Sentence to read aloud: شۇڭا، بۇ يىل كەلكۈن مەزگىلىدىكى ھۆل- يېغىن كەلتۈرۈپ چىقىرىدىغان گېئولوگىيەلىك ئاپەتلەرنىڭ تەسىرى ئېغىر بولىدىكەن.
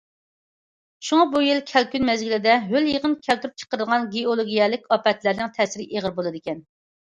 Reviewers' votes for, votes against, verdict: 0, 2, rejected